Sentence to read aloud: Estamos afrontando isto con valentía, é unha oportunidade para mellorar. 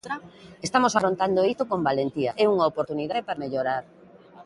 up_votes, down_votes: 2, 1